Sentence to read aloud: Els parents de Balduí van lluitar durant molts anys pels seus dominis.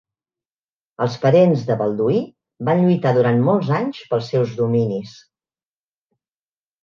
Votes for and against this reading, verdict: 3, 0, accepted